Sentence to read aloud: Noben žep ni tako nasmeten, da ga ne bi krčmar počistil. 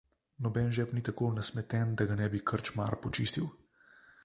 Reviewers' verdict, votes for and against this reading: accepted, 2, 0